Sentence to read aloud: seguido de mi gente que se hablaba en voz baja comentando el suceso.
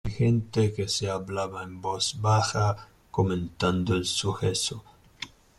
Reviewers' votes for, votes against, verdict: 0, 2, rejected